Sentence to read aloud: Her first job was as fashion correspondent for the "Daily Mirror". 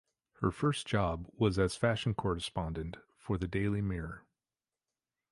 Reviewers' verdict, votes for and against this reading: accepted, 2, 0